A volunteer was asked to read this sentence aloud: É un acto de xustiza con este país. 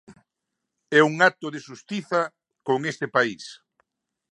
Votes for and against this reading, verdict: 2, 0, accepted